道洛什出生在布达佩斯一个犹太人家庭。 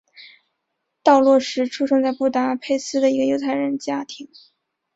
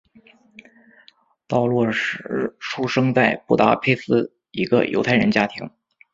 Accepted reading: first